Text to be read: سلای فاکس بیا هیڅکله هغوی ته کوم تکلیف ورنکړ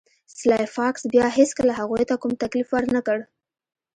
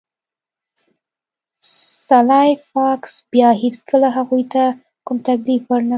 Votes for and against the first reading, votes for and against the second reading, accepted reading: 2, 0, 1, 2, first